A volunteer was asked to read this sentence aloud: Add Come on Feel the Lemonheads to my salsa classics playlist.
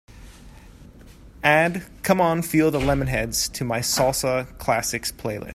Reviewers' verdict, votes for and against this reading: accepted, 2, 1